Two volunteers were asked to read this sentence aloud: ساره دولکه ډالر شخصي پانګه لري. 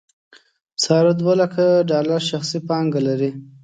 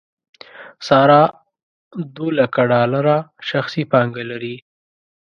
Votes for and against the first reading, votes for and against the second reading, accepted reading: 2, 0, 0, 2, first